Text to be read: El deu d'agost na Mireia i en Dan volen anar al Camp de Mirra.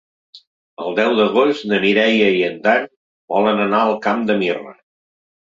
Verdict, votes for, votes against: accepted, 2, 0